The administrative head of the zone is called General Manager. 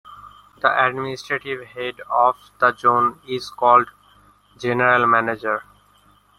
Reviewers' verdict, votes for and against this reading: accepted, 2, 0